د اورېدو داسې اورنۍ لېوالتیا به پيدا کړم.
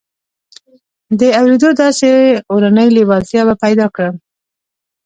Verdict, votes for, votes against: accepted, 2, 0